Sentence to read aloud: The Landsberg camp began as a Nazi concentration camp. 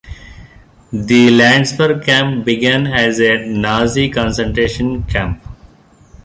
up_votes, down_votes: 2, 0